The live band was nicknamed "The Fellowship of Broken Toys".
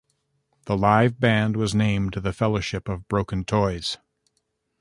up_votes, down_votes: 1, 2